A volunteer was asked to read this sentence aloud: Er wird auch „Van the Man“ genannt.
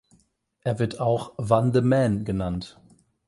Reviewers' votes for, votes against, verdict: 0, 8, rejected